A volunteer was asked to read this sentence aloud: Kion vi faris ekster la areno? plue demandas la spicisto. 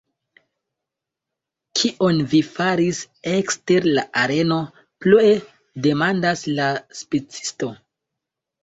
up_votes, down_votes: 1, 2